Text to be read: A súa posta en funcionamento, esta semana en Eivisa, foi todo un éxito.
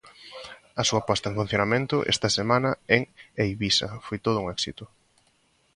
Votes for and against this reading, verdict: 2, 0, accepted